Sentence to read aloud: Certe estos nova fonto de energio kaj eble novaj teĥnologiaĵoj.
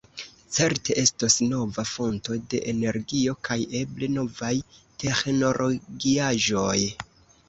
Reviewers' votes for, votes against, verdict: 1, 2, rejected